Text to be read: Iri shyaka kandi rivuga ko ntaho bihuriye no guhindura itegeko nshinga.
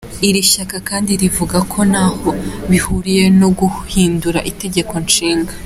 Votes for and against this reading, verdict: 2, 1, accepted